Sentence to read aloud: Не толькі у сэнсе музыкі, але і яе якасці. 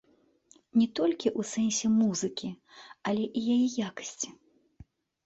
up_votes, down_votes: 2, 0